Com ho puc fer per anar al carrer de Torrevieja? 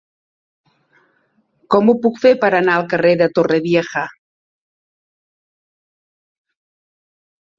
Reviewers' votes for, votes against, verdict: 2, 0, accepted